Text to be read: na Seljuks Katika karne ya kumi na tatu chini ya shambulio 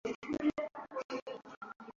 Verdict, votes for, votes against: rejected, 0, 2